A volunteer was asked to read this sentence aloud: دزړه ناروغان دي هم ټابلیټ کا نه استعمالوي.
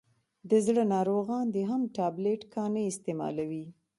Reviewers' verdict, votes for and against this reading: accepted, 2, 0